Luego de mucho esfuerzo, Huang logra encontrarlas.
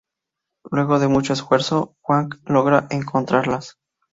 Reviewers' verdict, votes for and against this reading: rejected, 0, 2